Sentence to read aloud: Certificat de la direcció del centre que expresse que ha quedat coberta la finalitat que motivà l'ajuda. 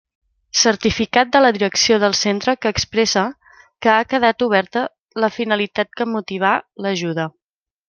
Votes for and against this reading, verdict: 1, 2, rejected